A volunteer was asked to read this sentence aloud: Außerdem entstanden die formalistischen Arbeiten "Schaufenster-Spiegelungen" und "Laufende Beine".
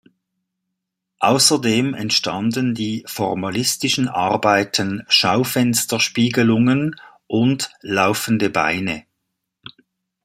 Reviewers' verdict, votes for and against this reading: accepted, 2, 0